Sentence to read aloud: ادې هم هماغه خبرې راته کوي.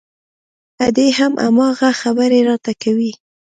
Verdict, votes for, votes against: accepted, 2, 0